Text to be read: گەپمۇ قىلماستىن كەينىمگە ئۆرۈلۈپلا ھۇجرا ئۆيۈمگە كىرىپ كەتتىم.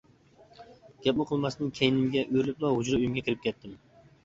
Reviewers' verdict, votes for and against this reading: accepted, 2, 0